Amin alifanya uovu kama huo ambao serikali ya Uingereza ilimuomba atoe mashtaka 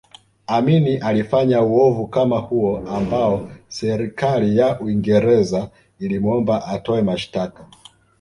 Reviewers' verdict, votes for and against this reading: rejected, 1, 2